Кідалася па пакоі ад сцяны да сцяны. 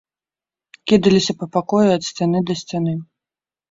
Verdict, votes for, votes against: rejected, 0, 2